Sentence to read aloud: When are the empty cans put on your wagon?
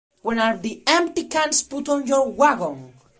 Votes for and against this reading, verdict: 3, 0, accepted